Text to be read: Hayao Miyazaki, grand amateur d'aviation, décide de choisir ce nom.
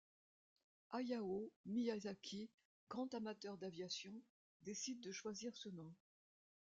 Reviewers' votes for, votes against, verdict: 2, 0, accepted